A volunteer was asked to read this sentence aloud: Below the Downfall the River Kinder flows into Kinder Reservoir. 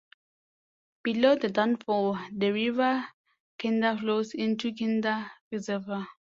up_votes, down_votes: 2, 0